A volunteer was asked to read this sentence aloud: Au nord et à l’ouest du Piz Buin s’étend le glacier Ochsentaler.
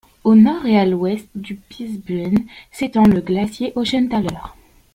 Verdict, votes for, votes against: rejected, 1, 2